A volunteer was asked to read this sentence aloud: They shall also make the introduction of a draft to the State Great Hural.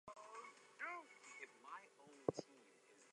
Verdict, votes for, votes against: rejected, 0, 4